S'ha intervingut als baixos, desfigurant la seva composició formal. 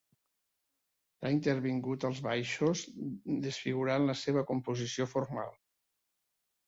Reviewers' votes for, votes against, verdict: 0, 2, rejected